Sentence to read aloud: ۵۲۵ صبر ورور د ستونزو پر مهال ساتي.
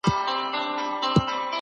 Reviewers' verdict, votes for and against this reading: rejected, 0, 2